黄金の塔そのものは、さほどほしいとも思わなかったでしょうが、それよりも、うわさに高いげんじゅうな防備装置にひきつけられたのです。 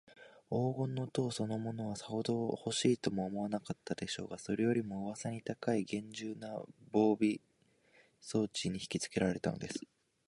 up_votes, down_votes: 2, 0